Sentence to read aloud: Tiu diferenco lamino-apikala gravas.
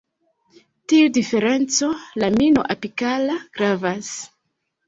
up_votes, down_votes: 2, 0